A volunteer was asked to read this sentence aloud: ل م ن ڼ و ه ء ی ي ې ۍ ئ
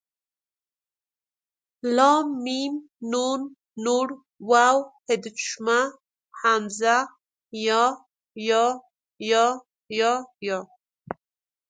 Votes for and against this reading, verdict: 1, 2, rejected